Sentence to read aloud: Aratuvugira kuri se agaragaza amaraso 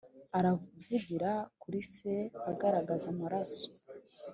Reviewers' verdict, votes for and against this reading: rejected, 1, 2